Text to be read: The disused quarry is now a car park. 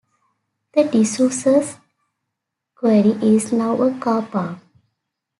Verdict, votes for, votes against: accepted, 3, 1